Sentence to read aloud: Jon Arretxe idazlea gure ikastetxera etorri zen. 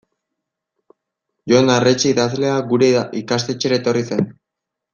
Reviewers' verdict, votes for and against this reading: accepted, 2, 1